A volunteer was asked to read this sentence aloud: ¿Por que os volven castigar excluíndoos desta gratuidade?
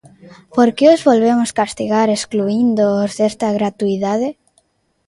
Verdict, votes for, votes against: rejected, 0, 2